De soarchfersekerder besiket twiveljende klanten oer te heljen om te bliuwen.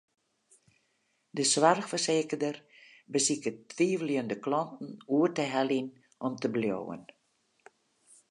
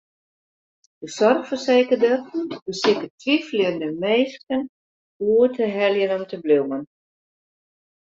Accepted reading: first